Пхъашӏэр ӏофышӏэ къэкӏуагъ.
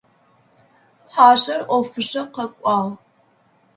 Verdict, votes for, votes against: accepted, 2, 0